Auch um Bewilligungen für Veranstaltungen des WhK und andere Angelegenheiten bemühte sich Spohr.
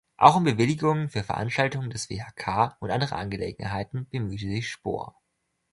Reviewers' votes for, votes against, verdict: 2, 1, accepted